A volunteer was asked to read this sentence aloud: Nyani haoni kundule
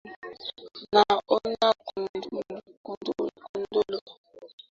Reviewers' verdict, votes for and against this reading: rejected, 0, 2